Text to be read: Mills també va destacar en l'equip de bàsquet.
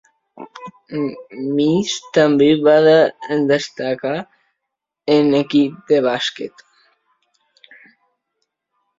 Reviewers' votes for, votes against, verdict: 0, 2, rejected